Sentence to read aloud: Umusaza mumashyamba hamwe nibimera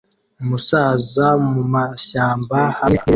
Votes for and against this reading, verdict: 0, 2, rejected